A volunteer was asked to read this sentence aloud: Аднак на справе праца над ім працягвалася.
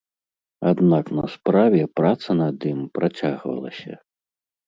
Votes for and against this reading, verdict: 3, 0, accepted